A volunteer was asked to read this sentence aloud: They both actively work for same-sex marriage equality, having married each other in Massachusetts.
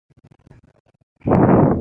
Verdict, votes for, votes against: rejected, 0, 2